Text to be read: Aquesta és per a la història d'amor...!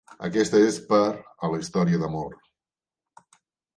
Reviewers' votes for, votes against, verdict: 3, 0, accepted